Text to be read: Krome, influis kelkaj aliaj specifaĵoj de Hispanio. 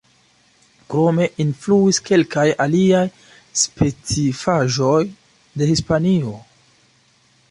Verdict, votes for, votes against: accepted, 2, 0